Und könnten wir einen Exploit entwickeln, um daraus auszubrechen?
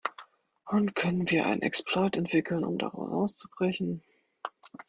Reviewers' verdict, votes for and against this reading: rejected, 1, 2